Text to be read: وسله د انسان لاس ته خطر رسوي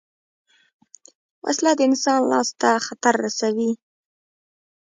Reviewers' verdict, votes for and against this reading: rejected, 0, 2